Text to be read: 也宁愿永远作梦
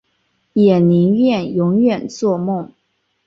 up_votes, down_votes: 2, 0